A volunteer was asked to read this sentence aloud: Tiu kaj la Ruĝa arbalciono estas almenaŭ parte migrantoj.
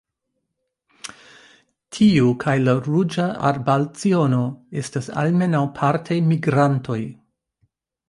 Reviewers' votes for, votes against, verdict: 2, 1, accepted